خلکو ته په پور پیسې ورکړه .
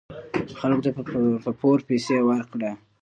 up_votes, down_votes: 0, 2